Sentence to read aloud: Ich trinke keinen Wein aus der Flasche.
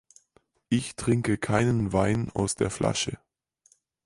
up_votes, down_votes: 4, 0